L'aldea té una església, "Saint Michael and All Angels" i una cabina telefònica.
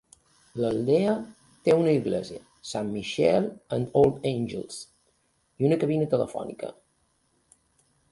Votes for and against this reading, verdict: 2, 0, accepted